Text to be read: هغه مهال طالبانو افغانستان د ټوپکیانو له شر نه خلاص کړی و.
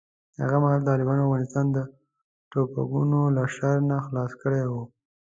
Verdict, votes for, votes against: rejected, 0, 2